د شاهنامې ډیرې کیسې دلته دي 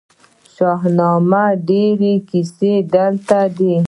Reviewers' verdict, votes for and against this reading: rejected, 1, 2